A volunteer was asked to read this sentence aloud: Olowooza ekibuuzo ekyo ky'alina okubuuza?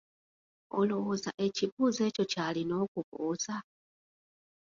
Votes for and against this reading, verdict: 3, 2, accepted